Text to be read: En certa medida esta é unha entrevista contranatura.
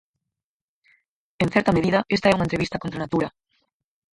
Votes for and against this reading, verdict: 2, 4, rejected